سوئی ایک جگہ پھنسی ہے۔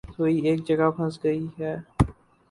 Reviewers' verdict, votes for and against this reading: accepted, 4, 0